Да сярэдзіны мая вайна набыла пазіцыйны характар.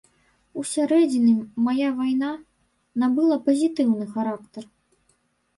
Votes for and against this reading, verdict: 0, 2, rejected